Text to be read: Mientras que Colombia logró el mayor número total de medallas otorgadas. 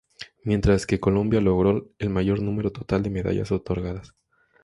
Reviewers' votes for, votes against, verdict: 2, 0, accepted